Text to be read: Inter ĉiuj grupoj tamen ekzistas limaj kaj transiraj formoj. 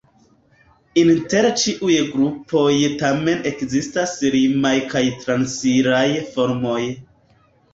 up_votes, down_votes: 2, 0